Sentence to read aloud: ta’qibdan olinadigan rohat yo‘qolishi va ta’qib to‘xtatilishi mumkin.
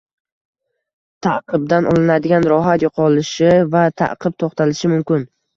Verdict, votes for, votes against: rejected, 0, 2